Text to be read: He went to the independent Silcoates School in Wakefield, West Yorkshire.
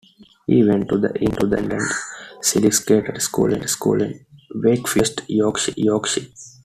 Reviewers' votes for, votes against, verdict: 0, 2, rejected